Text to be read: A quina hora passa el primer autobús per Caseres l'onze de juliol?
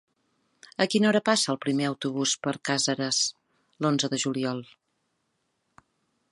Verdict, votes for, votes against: rejected, 2, 3